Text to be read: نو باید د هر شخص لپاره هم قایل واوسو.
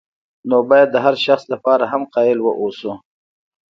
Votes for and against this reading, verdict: 2, 0, accepted